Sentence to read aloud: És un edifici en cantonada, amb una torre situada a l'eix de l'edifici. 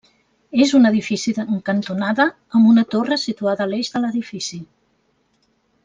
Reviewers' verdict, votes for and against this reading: rejected, 0, 2